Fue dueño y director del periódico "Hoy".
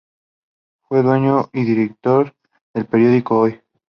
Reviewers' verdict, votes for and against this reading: accepted, 2, 0